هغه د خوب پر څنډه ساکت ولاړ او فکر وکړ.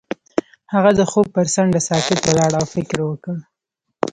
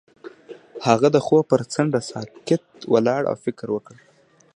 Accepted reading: second